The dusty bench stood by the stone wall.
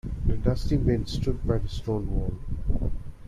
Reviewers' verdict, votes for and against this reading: rejected, 1, 2